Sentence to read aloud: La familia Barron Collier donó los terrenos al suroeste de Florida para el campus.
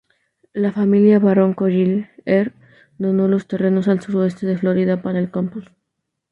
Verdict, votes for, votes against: rejected, 0, 2